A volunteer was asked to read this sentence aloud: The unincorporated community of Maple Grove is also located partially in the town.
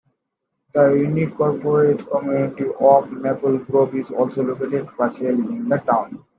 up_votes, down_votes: 2, 1